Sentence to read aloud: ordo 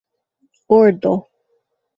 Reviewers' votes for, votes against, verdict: 0, 2, rejected